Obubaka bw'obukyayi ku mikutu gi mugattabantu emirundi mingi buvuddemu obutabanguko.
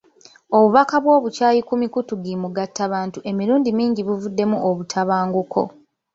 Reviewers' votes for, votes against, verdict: 2, 0, accepted